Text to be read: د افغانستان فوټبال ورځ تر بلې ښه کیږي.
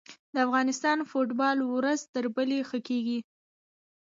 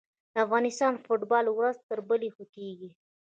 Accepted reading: first